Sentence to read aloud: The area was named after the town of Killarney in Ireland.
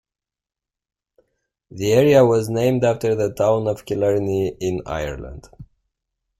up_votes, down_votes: 2, 0